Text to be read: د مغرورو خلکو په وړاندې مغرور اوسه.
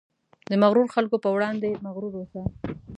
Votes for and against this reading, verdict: 2, 0, accepted